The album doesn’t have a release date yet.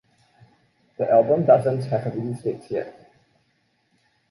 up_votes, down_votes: 2, 0